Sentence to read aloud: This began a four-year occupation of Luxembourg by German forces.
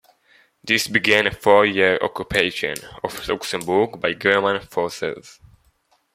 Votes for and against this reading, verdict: 1, 2, rejected